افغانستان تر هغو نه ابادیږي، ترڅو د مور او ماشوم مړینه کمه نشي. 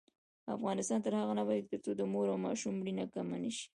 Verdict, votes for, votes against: accepted, 3, 1